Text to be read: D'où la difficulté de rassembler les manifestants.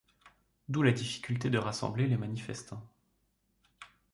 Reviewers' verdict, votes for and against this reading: accepted, 2, 0